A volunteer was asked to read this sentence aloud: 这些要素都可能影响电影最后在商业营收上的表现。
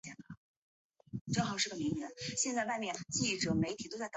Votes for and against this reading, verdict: 0, 5, rejected